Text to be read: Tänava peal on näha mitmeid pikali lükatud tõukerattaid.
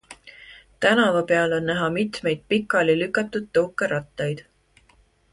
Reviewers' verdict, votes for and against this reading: accepted, 2, 0